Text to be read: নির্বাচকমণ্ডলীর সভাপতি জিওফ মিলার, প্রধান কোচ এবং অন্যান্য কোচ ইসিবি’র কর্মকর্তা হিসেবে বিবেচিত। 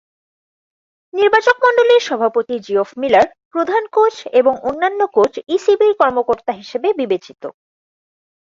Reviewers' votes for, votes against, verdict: 2, 0, accepted